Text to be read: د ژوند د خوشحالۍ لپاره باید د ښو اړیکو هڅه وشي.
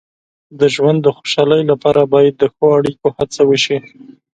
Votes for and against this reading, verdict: 2, 0, accepted